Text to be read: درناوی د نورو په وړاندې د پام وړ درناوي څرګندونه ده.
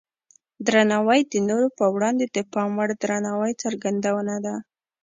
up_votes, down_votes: 2, 1